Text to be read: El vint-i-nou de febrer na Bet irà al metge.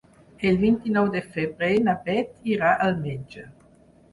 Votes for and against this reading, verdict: 4, 0, accepted